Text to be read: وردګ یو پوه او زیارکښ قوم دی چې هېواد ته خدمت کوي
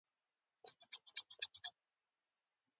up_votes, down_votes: 2, 0